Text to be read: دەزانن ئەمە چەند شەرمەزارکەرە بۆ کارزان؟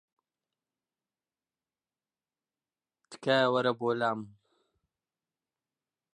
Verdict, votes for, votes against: rejected, 0, 2